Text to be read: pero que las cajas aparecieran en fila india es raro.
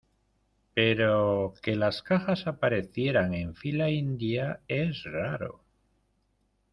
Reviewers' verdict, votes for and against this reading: accepted, 2, 0